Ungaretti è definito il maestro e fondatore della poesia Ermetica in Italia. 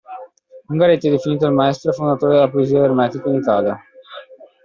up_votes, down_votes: 2, 1